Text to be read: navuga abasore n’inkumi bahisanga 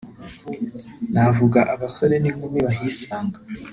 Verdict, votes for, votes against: rejected, 1, 2